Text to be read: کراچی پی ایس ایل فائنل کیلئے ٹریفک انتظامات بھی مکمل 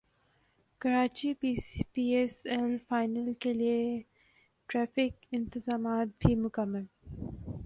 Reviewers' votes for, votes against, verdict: 0, 2, rejected